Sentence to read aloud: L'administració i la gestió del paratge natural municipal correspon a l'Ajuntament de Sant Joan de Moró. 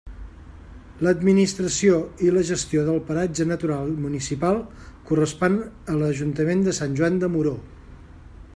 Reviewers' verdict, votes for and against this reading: accepted, 2, 0